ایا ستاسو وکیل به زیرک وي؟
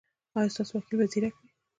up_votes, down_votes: 1, 2